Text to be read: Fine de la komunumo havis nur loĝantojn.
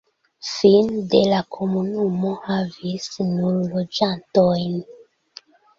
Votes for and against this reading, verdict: 2, 1, accepted